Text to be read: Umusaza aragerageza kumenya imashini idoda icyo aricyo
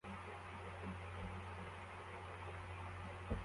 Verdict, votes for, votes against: rejected, 0, 2